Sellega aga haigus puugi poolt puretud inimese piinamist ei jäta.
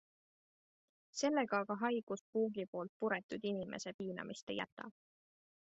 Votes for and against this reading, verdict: 2, 1, accepted